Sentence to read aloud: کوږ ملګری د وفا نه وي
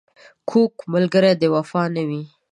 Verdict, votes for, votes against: accepted, 2, 0